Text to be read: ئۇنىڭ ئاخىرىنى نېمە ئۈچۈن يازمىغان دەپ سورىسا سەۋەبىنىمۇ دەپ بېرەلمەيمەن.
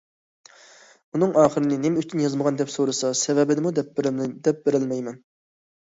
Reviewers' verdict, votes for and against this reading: rejected, 1, 2